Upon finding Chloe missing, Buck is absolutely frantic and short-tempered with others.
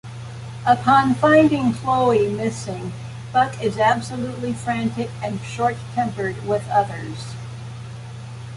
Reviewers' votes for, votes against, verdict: 2, 0, accepted